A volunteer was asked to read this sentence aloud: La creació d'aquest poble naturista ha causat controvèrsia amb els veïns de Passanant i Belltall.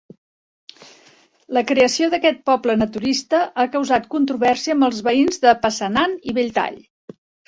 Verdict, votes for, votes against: accepted, 4, 0